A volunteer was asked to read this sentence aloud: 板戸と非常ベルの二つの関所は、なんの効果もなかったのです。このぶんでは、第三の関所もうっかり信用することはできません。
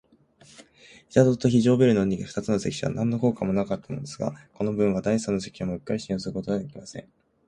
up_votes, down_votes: 0, 2